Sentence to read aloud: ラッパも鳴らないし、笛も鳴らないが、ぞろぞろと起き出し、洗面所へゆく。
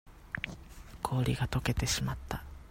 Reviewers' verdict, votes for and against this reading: rejected, 0, 2